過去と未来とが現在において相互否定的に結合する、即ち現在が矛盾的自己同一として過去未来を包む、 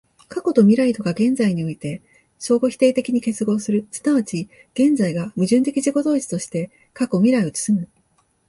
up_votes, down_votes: 2, 0